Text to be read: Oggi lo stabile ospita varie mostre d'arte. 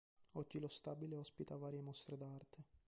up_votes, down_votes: 0, 2